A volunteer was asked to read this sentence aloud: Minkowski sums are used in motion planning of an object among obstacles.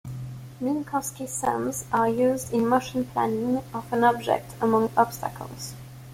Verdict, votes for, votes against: accepted, 2, 0